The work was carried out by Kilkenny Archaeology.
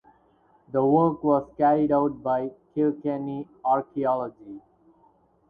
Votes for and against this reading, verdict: 2, 2, rejected